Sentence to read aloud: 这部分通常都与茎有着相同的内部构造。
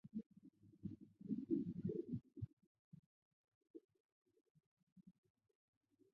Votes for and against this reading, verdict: 0, 4, rejected